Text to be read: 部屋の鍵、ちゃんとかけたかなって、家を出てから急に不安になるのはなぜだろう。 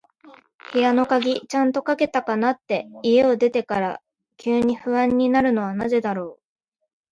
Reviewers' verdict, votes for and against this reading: accepted, 2, 1